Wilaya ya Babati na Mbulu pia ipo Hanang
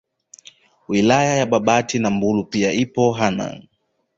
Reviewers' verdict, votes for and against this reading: rejected, 1, 2